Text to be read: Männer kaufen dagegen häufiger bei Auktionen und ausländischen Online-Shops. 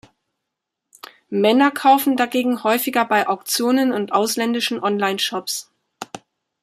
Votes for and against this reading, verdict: 2, 0, accepted